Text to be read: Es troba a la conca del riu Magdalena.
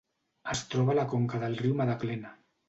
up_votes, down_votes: 1, 2